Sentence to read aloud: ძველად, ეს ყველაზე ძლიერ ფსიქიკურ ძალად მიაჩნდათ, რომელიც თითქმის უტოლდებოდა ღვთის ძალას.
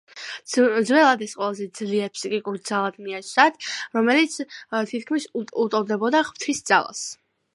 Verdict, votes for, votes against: accepted, 2, 0